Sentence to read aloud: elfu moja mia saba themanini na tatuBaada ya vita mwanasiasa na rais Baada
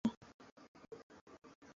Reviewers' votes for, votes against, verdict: 0, 2, rejected